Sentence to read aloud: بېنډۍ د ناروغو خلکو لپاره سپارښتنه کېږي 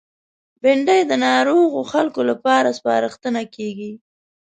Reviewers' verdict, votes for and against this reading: accepted, 5, 0